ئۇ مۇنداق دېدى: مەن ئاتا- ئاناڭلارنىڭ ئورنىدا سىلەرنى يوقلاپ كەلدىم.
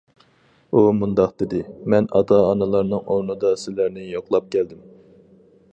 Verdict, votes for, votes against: rejected, 0, 4